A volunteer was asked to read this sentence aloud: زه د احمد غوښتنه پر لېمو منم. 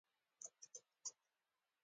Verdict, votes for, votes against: rejected, 1, 2